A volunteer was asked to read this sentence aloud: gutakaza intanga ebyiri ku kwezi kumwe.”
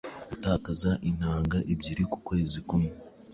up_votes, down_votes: 2, 0